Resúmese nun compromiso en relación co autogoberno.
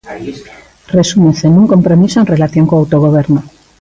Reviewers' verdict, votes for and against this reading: rejected, 0, 2